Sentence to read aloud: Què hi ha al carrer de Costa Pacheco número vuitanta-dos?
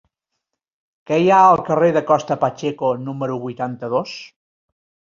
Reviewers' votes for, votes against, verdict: 3, 0, accepted